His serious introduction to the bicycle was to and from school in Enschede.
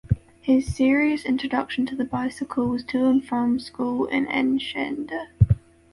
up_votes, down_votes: 0, 2